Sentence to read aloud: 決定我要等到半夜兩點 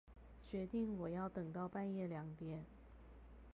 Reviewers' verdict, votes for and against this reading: accepted, 4, 0